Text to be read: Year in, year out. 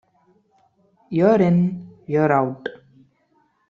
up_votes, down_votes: 1, 2